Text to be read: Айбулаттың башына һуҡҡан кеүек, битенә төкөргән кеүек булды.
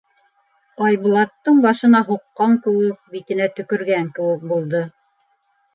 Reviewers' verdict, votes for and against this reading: accepted, 2, 0